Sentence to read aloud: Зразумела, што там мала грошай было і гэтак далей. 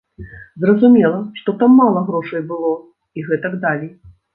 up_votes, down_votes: 1, 2